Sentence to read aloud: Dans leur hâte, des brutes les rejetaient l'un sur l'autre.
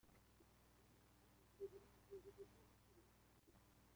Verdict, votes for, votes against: rejected, 0, 2